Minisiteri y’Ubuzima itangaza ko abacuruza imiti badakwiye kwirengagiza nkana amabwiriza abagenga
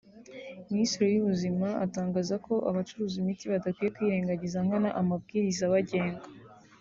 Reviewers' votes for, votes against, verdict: 1, 2, rejected